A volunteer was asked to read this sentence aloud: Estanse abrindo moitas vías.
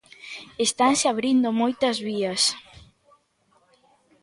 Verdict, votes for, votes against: accepted, 3, 0